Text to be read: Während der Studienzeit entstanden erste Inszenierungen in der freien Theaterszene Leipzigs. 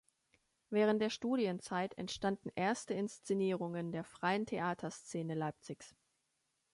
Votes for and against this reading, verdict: 0, 2, rejected